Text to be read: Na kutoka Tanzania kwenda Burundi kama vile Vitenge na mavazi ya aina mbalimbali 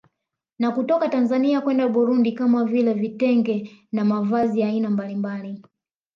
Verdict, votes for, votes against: accepted, 2, 0